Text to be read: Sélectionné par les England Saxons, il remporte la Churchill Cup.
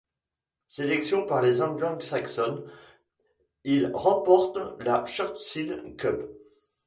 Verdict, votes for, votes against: rejected, 1, 2